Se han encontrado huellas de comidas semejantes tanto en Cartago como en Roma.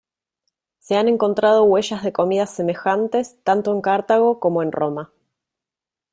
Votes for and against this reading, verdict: 1, 2, rejected